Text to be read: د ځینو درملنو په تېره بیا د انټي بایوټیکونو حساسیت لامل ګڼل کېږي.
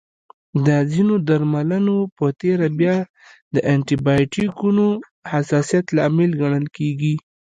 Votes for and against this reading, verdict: 2, 0, accepted